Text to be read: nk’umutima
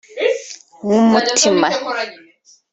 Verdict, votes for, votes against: accepted, 2, 0